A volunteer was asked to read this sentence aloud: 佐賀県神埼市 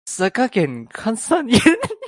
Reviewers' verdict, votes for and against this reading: rejected, 2, 2